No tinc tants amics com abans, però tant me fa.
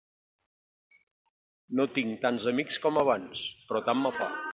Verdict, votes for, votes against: accepted, 3, 0